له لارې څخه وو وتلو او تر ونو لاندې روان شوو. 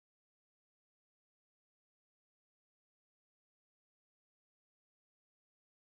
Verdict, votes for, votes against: rejected, 0, 2